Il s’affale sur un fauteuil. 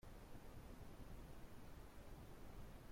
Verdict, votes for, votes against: rejected, 0, 2